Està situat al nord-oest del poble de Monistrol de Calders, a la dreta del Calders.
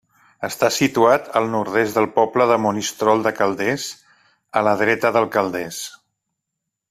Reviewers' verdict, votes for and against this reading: rejected, 0, 2